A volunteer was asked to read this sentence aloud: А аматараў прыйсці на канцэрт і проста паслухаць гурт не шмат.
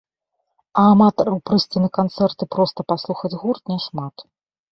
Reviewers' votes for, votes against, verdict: 2, 0, accepted